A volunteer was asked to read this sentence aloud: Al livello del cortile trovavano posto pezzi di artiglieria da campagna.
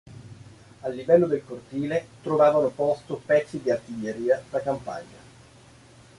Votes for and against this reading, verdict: 2, 1, accepted